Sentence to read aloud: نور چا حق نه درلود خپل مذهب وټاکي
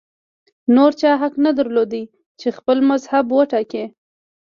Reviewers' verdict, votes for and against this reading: rejected, 1, 2